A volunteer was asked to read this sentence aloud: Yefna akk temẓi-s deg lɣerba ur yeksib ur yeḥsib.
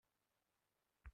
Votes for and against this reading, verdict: 0, 2, rejected